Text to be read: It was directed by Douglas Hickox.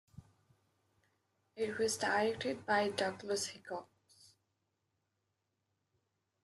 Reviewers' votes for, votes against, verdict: 0, 2, rejected